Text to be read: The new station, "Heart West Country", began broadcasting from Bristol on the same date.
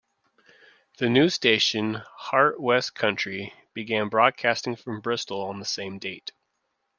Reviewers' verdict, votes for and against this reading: accepted, 2, 0